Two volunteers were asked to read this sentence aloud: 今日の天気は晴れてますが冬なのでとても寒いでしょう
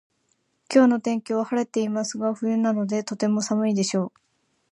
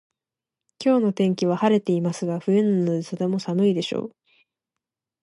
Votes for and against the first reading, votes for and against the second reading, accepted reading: 2, 1, 0, 2, first